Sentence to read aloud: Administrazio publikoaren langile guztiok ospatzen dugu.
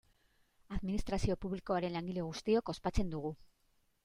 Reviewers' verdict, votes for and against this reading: accepted, 2, 0